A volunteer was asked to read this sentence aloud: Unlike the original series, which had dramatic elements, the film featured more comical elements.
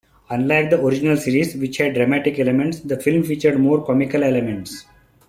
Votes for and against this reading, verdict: 2, 0, accepted